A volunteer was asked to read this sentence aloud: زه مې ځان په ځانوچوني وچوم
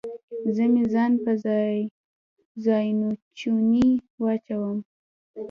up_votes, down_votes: 1, 2